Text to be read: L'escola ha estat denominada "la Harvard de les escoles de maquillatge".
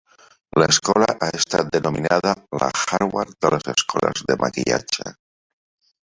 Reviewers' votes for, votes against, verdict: 3, 1, accepted